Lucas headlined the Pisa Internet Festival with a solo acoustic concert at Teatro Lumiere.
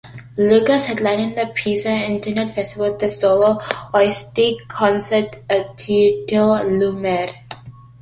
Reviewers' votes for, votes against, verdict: 0, 2, rejected